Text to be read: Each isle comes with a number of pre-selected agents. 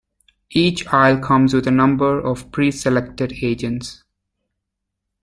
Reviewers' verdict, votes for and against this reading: accepted, 2, 0